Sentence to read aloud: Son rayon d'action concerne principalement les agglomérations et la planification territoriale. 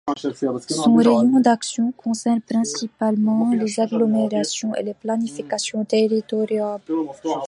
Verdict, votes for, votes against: rejected, 0, 2